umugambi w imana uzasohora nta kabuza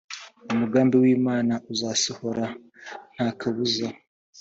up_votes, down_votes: 2, 0